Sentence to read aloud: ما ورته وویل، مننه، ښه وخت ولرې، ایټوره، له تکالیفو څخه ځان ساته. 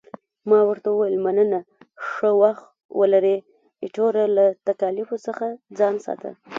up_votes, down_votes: 1, 2